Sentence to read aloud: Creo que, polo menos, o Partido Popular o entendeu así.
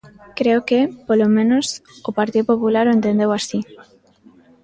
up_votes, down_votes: 1, 2